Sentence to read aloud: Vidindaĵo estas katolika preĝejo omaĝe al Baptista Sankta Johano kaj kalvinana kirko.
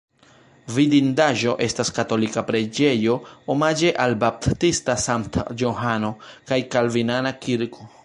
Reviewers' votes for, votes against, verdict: 2, 0, accepted